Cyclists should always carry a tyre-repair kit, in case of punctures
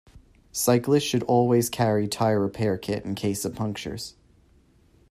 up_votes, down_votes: 2, 1